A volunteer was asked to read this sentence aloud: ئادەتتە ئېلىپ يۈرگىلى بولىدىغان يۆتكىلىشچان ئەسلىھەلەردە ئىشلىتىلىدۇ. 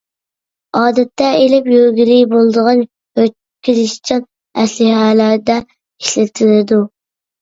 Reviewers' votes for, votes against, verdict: 1, 2, rejected